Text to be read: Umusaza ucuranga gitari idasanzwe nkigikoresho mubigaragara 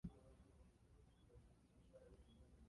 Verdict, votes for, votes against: rejected, 0, 2